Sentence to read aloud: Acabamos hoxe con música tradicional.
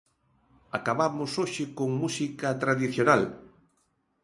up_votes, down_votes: 2, 0